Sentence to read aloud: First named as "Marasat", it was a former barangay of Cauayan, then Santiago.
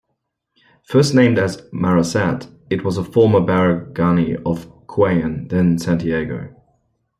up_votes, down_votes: 1, 2